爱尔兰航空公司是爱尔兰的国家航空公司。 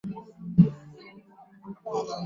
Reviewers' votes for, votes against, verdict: 0, 3, rejected